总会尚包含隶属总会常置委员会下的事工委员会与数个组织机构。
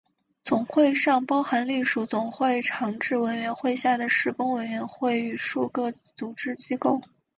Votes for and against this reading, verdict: 7, 0, accepted